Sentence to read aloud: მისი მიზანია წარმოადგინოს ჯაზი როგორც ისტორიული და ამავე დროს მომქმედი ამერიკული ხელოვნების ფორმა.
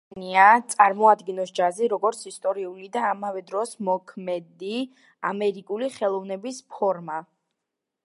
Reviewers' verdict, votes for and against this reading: rejected, 0, 2